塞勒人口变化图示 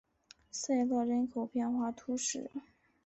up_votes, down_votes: 3, 1